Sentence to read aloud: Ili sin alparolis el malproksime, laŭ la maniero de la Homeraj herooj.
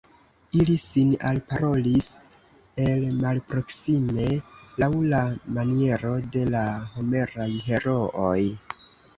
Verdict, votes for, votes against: rejected, 1, 2